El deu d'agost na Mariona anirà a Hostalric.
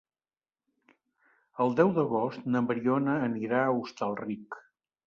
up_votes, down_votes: 3, 0